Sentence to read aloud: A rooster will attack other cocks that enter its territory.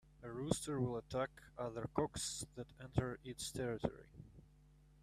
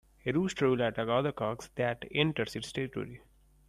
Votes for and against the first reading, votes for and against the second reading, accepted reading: 2, 1, 1, 2, first